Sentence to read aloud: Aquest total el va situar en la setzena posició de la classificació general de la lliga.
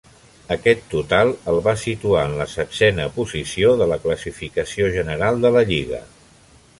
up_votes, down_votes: 1, 2